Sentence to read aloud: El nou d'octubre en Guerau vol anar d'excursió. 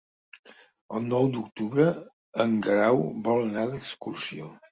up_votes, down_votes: 3, 0